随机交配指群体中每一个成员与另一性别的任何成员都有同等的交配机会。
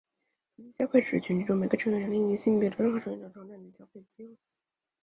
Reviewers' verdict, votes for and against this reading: rejected, 0, 2